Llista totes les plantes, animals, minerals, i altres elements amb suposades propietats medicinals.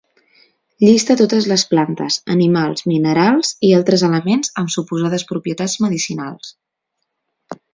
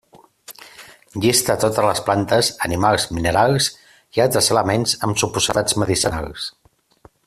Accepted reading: first